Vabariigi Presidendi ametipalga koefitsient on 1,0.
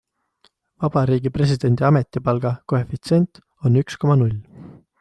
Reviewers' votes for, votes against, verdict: 0, 2, rejected